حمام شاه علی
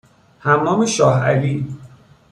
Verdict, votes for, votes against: accepted, 2, 0